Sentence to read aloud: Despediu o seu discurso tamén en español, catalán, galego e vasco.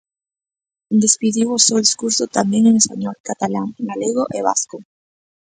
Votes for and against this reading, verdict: 2, 0, accepted